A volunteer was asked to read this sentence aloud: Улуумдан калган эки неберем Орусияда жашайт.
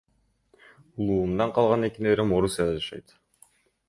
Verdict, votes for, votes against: accepted, 2, 1